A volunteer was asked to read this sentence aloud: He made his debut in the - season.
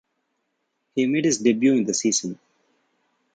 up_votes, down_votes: 0, 2